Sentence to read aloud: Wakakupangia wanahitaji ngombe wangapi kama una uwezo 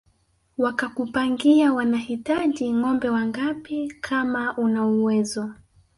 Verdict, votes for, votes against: rejected, 1, 2